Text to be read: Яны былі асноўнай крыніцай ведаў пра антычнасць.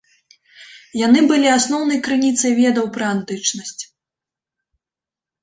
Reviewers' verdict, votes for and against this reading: accepted, 2, 0